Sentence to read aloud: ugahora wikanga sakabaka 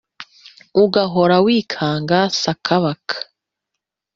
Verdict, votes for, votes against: accepted, 2, 0